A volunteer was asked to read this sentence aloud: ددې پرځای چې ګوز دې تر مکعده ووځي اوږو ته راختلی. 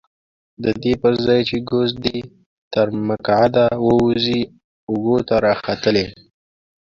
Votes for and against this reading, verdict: 0, 2, rejected